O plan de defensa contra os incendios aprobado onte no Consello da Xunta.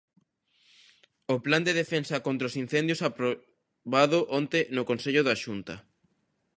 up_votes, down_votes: 1, 2